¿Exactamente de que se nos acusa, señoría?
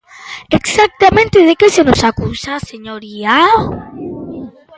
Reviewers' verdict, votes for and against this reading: rejected, 0, 2